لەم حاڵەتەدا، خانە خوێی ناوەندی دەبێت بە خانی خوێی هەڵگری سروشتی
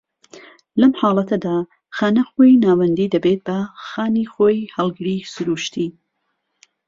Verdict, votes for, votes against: rejected, 1, 2